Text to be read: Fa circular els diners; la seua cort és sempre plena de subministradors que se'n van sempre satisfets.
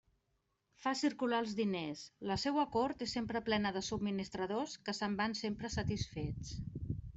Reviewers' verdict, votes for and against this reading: accepted, 3, 0